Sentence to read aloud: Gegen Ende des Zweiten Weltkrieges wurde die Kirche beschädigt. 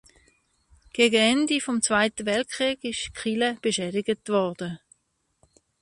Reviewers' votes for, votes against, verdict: 0, 2, rejected